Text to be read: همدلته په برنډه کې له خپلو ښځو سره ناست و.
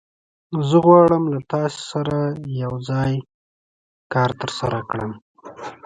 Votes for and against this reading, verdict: 0, 2, rejected